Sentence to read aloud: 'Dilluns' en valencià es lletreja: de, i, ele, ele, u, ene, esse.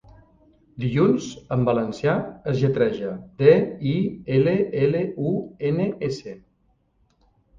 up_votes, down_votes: 1, 2